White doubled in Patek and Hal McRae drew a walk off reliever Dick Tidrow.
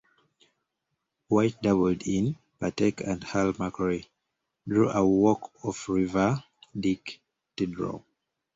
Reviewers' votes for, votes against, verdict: 1, 2, rejected